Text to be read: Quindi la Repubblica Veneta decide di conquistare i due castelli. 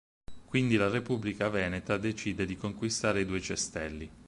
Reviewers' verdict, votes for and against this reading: rejected, 6, 8